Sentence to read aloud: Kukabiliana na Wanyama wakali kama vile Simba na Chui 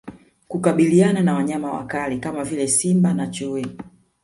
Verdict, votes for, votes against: accepted, 2, 0